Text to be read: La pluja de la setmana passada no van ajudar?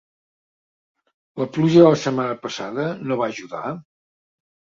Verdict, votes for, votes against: accepted, 2, 0